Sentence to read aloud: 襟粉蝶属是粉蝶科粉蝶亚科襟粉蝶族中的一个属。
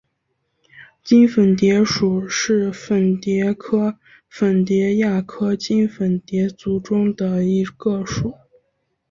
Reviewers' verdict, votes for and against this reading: accepted, 7, 4